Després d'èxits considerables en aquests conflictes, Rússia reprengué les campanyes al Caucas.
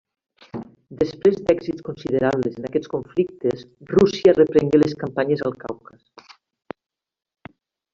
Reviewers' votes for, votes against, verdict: 1, 2, rejected